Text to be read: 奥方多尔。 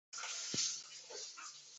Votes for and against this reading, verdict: 0, 4, rejected